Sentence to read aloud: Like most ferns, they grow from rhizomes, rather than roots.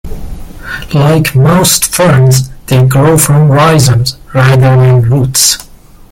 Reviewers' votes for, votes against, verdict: 0, 2, rejected